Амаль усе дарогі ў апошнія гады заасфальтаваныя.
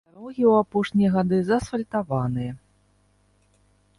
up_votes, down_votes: 1, 2